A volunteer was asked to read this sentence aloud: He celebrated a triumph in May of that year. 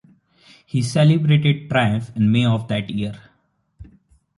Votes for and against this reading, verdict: 0, 2, rejected